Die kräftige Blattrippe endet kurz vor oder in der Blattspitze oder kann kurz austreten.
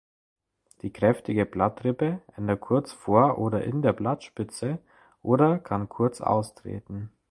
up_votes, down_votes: 2, 0